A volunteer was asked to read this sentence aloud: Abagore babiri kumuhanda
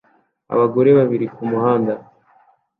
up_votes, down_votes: 2, 0